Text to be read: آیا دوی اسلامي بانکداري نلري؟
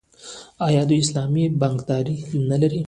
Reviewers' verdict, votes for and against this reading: rejected, 0, 2